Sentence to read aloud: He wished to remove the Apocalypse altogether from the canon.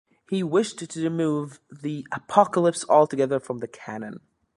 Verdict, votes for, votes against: accepted, 2, 0